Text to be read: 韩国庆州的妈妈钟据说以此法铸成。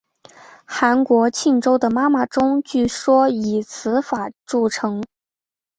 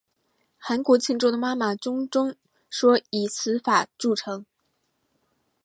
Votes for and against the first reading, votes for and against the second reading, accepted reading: 4, 0, 1, 2, first